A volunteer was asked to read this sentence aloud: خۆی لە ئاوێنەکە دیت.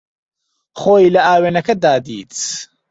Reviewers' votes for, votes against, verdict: 0, 2, rejected